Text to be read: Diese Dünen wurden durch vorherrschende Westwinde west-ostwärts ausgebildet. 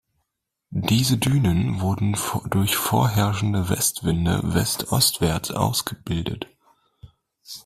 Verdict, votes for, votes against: rejected, 0, 2